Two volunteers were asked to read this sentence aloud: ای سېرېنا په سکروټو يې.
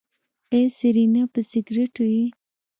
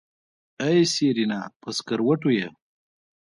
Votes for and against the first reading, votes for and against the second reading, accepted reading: 1, 2, 2, 1, second